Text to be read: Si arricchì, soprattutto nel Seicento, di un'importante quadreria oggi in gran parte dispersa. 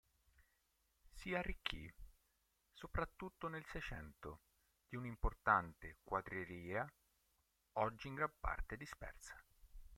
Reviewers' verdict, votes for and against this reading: rejected, 2, 3